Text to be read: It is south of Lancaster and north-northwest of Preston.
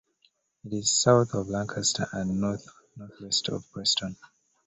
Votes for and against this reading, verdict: 2, 0, accepted